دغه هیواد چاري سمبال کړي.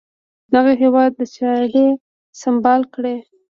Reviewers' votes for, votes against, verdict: 2, 0, accepted